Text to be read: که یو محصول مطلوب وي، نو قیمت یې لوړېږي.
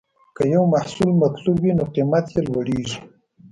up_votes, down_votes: 2, 0